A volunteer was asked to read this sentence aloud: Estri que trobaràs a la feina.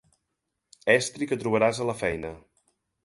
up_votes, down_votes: 2, 0